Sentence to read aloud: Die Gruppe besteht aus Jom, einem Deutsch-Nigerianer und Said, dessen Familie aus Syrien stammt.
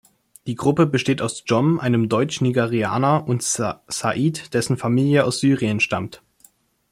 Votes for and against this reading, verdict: 2, 0, accepted